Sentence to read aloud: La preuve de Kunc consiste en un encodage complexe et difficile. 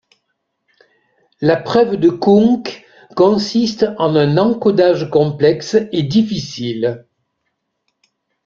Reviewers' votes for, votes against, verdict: 2, 0, accepted